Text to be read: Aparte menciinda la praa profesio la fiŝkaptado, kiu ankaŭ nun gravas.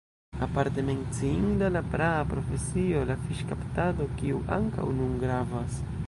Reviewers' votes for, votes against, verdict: 1, 2, rejected